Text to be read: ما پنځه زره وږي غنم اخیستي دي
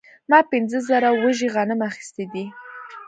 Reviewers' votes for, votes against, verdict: 2, 0, accepted